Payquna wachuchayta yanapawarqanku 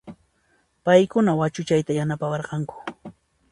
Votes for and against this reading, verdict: 2, 0, accepted